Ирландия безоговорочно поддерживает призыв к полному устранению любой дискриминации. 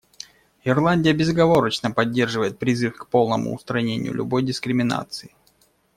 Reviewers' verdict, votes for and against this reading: accepted, 2, 0